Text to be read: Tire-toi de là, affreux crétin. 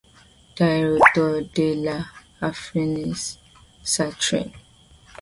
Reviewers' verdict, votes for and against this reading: rejected, 0, 2